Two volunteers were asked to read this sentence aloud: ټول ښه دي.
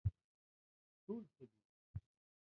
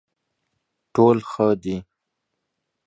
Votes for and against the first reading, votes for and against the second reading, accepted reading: 0, 2, 2, 0, second